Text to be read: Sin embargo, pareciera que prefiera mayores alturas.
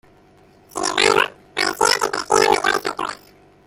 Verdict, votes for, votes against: rejected, 0, 3